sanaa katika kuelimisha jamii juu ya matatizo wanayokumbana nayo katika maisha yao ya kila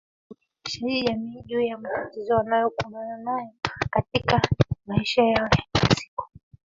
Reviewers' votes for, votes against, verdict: 0, 2, rejected